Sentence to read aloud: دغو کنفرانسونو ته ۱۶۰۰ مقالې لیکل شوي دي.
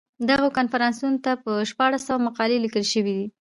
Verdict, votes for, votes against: rejected, 0, 2